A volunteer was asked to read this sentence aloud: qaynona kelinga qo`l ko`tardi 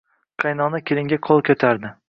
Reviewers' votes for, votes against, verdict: 0, 2, rejected